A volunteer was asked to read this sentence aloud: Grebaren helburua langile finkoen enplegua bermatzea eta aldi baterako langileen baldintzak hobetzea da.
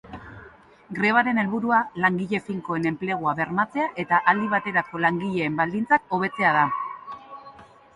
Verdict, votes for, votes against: accepted, 3, 0